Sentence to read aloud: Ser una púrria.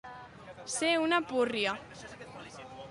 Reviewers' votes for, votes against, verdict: 2, 1, accepted